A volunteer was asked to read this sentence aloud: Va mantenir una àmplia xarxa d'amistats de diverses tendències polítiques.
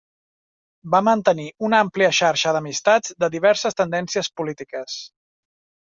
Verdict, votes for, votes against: accepted, 3, 0